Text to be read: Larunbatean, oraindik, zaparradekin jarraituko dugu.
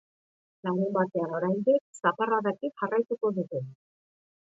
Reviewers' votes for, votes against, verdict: 0, 2, rejected